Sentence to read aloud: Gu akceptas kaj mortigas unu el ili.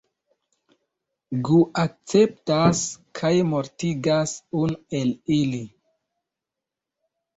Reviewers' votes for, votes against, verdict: 2, 0, accepted